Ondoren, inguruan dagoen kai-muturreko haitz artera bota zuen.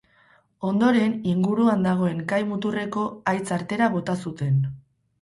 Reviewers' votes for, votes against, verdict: 2, 2, rejected